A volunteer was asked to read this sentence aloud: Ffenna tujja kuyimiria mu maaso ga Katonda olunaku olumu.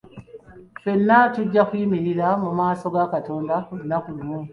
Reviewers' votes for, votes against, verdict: 2, 0, accepted